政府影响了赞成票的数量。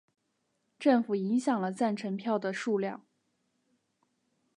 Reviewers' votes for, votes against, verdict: 2, 0, accepted